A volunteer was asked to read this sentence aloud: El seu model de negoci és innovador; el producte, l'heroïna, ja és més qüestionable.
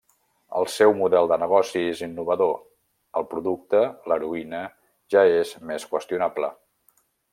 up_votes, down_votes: 2, 0